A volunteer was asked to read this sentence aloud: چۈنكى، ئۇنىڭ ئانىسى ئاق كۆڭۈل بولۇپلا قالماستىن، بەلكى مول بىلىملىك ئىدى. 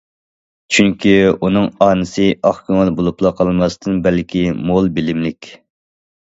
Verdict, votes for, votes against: rejected, 0, 2